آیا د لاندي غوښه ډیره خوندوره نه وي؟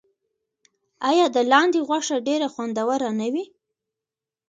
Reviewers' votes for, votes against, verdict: 2, 1, accepted